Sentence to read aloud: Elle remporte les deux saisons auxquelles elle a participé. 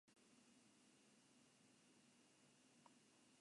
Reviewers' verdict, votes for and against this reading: rejected, 0, 3